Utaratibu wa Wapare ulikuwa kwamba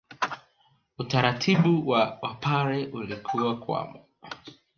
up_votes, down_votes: 2, 3